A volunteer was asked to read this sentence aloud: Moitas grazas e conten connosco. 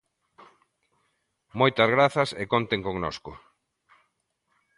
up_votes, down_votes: 2, 0